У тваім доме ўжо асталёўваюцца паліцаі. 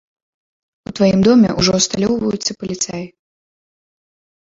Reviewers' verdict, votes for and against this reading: accepted, 2, 0